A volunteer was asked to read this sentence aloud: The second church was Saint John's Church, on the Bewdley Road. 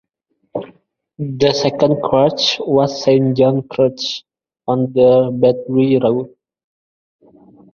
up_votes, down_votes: 1, 2